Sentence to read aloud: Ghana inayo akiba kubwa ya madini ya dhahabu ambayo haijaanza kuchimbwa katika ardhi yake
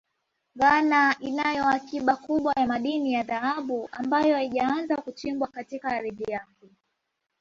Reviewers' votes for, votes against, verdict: 2, 1, accepted